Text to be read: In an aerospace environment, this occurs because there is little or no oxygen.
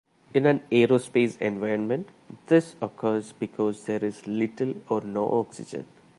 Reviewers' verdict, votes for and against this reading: accepted, 2, 0